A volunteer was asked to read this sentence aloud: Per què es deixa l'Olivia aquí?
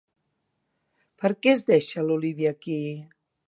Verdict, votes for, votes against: accepted, 2, 0